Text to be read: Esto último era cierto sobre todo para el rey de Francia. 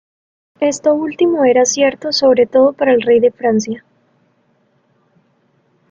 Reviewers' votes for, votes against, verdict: 2, 1, accepted